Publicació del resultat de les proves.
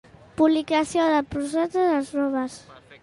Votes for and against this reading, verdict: 0, 2, rejected